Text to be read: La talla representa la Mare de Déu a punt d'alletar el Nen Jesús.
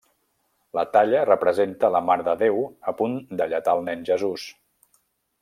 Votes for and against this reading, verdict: 2, 0, accepted